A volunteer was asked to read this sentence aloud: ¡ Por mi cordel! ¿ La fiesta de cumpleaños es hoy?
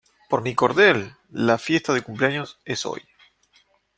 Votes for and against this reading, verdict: 0, 2, rejected